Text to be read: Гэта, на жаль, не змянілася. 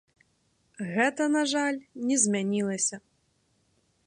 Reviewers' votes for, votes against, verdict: 2, 0, accepted